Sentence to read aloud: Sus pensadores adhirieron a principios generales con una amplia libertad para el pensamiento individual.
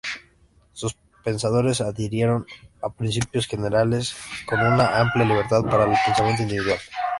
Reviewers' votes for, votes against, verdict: 2, 0, accepted